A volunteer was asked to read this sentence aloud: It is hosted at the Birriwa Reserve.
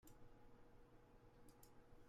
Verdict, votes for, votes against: rejected, 0, 2